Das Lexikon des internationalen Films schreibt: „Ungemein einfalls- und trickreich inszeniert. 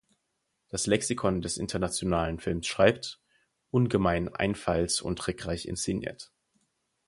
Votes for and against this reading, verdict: 4, 0, accepted